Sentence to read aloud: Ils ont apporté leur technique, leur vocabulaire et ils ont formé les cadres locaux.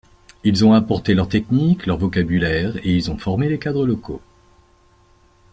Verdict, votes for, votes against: accepted, 2, 0